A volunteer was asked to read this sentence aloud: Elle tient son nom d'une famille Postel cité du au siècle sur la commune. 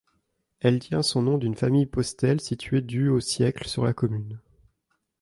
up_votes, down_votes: 1, 2